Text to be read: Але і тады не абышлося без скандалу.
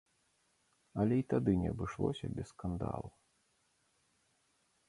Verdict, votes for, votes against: accepted, 2, 0